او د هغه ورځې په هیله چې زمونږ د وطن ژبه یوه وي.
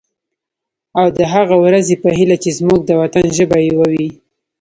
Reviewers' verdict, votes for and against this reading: rejected, 1, 2